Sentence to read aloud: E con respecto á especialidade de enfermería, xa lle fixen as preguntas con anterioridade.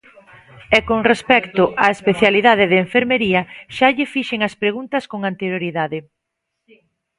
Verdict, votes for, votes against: rejected, 1, 2